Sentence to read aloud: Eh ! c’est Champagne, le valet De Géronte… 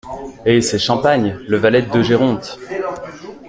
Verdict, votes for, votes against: accepted, 3, 1